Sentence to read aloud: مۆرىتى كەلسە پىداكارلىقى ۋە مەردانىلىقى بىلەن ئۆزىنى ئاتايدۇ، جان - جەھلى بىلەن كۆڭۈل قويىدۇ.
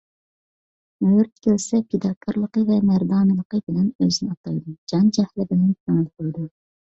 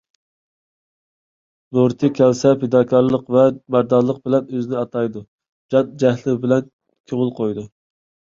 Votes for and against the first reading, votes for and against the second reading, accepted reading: 2, 0, 1, 2, first